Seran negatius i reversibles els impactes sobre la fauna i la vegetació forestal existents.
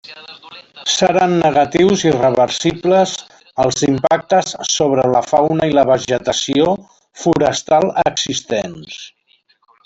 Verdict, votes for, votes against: accepted, 3, 0